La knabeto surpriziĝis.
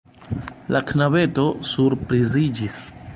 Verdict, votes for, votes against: rejected, 0, 2